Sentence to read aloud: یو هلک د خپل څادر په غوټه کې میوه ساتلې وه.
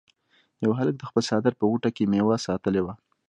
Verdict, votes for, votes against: accepted, 2, 1